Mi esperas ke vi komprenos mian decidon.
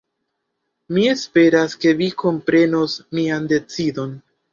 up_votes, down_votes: 2, 1